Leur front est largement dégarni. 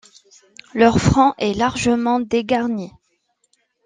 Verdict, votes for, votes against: accepted, 2, 0